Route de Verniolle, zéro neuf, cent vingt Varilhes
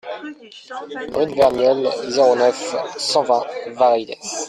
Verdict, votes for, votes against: rejected, 1, 2